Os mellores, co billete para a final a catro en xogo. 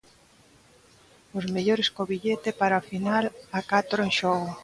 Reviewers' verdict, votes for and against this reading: accepted, 2, 0